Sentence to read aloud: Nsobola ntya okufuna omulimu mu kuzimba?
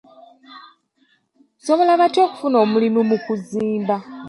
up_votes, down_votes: 1, 2